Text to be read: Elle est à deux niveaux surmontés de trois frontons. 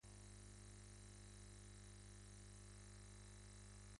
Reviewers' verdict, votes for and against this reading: rejected, 1, 2